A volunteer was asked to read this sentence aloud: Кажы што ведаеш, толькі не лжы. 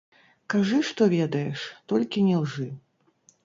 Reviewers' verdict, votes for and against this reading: rejected, 1, 3